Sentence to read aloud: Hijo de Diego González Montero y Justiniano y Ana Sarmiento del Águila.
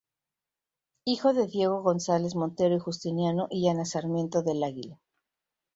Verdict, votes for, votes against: accepted, 2, 0